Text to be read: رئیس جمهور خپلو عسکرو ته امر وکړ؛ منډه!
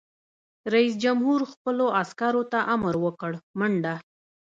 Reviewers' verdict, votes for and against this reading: rejected, 0, 2